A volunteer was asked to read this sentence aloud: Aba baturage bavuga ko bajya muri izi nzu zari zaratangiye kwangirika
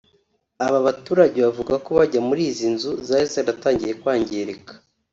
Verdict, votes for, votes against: accepted, 3, 0